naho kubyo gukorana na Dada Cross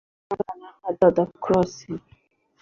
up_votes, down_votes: 0, 2